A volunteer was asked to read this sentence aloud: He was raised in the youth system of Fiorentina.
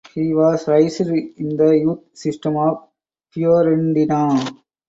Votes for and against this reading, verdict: 0, 4, rejected